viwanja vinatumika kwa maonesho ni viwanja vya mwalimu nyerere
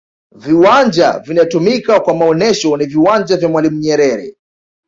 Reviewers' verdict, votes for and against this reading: accepted, 2, 1